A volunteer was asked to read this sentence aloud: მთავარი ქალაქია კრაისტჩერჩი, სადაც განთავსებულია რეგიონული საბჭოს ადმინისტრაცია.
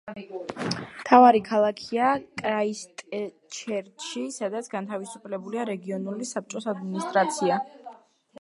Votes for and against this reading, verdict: 0, 2, rejected